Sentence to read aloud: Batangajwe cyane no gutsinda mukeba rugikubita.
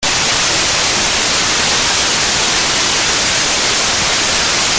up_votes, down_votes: 0, 2